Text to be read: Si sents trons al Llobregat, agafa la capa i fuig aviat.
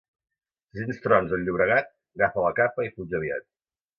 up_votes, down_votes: 0, 2